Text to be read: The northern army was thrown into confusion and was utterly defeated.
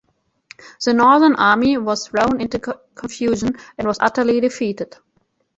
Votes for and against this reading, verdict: 0, 2, rejected